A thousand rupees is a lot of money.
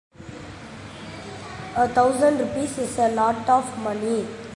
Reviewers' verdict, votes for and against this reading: rejected, 0, 2